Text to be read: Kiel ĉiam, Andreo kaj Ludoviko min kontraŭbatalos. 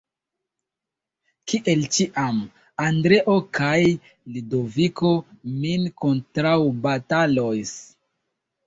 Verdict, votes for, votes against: rejected, 1, 2